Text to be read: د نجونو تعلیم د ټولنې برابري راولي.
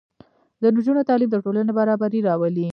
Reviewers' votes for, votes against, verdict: 0, 2, rejected